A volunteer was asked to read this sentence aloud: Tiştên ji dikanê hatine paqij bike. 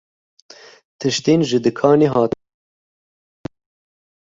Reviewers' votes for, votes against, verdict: 0, 2, rejected